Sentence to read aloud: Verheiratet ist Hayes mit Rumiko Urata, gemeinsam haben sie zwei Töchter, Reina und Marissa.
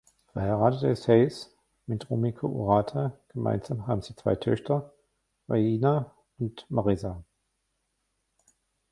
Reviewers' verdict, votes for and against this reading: rejected, 1, 2